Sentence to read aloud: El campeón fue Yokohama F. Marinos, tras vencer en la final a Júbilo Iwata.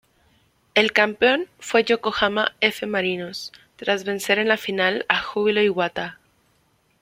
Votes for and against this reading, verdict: 3, 0, accepted